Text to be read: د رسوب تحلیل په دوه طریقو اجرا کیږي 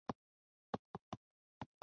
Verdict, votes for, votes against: rejected, 1, 2